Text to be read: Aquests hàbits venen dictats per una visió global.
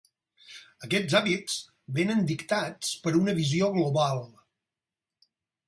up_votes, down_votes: 4, 0